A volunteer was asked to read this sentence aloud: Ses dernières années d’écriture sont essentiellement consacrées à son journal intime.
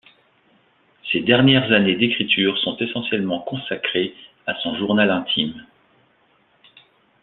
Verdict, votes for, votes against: accepted, 2, 0